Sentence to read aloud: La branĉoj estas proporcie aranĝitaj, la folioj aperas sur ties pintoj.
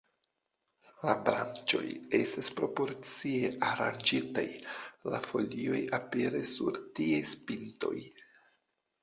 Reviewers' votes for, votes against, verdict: 0, 2, rejected